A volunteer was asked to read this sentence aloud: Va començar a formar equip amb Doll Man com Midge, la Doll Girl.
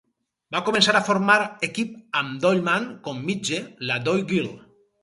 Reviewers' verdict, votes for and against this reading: rejected, 2, 4